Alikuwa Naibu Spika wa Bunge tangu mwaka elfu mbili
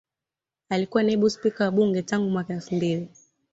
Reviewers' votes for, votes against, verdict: 2, 0, accepted